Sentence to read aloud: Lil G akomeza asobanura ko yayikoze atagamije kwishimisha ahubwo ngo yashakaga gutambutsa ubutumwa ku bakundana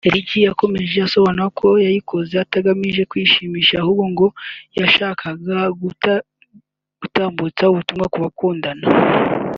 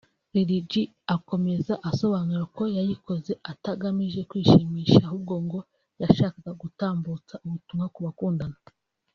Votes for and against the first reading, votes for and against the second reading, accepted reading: 1, 2, 2, 0, second